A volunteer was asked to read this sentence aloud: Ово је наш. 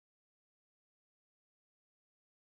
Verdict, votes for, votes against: rejected, 0, 2